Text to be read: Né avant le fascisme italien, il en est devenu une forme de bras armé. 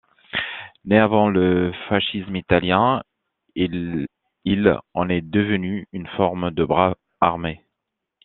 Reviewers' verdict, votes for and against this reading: rejected, 0, 2